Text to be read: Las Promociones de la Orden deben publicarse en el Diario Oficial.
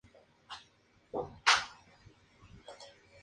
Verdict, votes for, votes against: rejected, 0, 2